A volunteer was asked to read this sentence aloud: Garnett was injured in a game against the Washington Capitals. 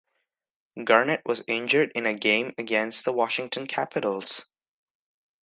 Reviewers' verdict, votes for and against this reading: accepted, 2, 0